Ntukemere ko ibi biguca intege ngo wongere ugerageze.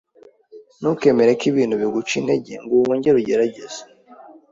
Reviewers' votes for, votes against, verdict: 1, 2, rejected